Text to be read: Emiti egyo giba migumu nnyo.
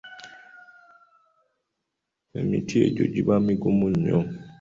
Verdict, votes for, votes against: accepted, 2, 0